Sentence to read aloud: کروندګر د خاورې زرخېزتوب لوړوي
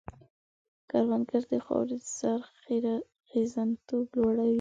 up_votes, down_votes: 1, 2